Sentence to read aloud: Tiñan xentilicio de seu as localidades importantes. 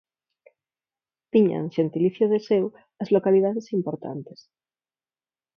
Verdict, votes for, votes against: accepted, 6, 0